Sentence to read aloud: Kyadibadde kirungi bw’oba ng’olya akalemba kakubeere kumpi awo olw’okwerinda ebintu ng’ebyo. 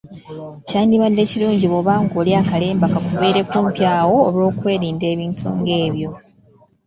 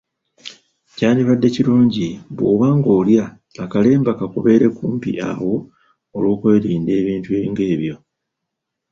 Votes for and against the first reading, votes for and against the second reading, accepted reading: 3, 1, 1, 2, first